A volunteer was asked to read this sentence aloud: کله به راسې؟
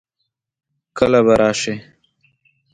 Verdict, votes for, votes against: accepted, 2, 0